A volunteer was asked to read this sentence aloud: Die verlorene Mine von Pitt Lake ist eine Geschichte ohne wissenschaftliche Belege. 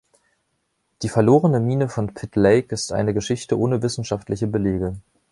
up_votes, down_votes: 2, 0